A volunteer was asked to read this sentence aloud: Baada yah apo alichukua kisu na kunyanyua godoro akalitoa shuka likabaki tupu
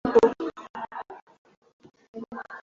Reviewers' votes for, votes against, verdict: 0, 2, rejected